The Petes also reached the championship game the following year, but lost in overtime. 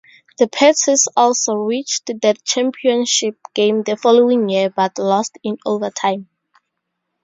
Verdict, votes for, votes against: rejected, 0, 2